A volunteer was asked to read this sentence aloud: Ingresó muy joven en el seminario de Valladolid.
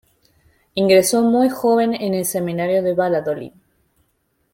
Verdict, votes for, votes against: rejected, 0, 2